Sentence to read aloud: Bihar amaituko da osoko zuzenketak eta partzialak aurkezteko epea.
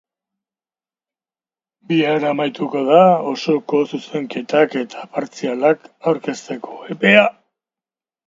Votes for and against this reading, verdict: 3, 0, accepted